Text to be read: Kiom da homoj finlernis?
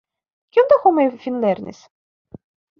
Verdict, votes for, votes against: accepted, 2, 0